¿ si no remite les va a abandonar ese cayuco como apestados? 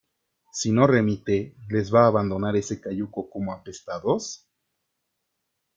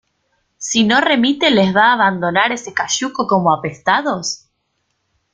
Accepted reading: first